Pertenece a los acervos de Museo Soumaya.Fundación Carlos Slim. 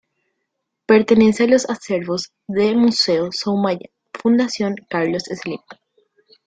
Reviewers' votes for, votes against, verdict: 0, 2, rejected